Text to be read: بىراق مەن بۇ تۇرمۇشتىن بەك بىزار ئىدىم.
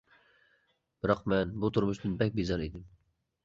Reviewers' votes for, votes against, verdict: 2, 0, accepted